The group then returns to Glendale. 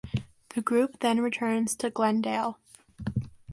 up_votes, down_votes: 2, 0